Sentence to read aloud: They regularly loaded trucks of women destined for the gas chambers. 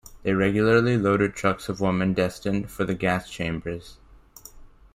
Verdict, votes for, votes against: accepted, 2, 1